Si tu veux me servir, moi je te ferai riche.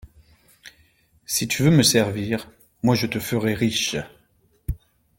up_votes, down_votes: 2, 0